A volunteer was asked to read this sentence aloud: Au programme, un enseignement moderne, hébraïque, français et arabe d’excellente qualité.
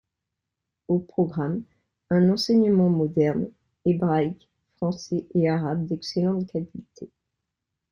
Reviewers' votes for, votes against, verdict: 2, 0, accepted